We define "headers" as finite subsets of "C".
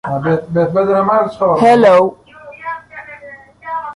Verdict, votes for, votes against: rejected, 0, 2